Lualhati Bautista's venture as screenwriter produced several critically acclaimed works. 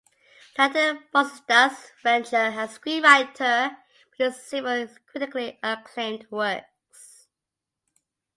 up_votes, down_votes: 0, 2